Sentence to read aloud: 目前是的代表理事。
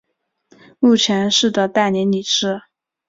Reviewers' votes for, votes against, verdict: 2, 0, accepted